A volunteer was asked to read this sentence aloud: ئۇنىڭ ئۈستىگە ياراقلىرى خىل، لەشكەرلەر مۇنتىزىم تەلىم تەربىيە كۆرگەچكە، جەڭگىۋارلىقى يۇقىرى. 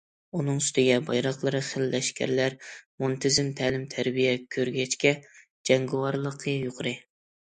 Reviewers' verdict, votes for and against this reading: rejected, 1, 2